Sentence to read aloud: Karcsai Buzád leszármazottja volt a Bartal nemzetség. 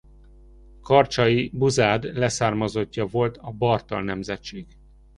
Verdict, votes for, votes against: accepted, 2, 0